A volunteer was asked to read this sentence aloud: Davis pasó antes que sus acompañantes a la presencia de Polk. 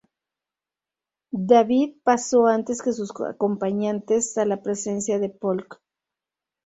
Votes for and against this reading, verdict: 0, 2, rejected